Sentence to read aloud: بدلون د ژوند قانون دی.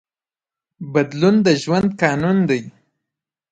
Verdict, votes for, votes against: rejected, 0, 2